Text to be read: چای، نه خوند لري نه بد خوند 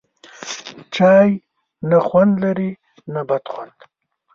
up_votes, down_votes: 2, 0